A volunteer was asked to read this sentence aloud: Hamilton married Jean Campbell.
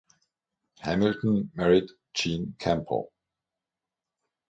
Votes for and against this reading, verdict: 3, 0, accepted